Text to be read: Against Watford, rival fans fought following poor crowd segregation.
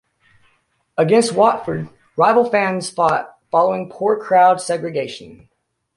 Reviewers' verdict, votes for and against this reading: accepted, 2, 0